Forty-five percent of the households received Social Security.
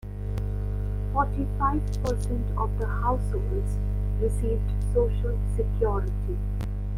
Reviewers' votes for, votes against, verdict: 2, 1, accepted